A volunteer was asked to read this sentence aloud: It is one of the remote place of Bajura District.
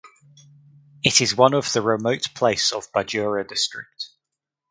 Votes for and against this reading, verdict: 2, 0, accepted